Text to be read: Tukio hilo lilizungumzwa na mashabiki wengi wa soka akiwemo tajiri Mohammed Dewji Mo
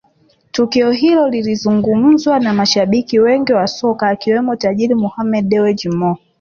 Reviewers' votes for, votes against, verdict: 3, 0, accepted